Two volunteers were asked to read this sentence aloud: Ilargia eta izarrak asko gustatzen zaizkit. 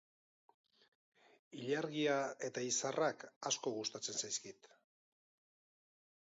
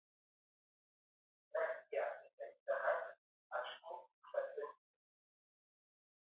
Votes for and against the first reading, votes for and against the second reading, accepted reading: 2, 0, 0, 4, first